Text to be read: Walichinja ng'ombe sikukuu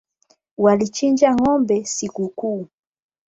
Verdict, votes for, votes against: rejected, 0, 8